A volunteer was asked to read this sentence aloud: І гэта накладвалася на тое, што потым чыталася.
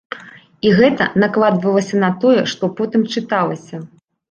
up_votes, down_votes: 2, 0